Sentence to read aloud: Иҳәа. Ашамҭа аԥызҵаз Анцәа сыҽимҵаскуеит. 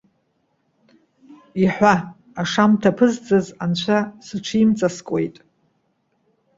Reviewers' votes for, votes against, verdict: 2, 0, accepted